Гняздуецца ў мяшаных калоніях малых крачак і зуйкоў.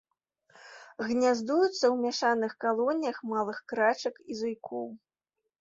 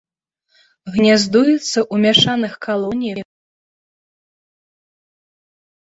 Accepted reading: first